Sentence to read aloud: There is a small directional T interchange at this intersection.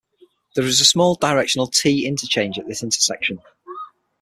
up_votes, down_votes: 6, 3